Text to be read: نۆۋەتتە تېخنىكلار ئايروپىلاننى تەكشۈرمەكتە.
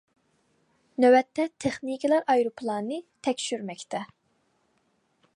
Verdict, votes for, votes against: accepted, 2, 0